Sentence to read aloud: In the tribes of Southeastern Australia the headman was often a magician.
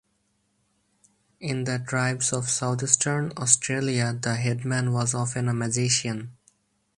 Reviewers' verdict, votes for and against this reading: accepted, 4, 2